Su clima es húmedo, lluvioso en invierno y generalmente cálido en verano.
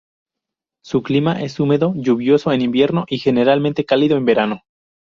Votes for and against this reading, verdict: 2, 0, accepted